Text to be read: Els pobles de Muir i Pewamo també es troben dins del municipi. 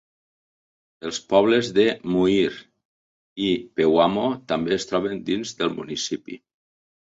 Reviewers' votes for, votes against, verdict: 2, 0, accepted